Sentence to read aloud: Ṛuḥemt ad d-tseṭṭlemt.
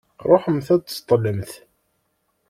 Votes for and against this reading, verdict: 2, 0, accepted